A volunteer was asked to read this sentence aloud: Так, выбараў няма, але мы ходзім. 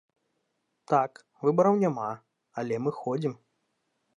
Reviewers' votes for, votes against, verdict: 2, 0, accepted